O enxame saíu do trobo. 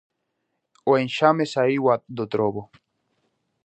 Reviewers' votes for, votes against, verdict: 0, 2, rejected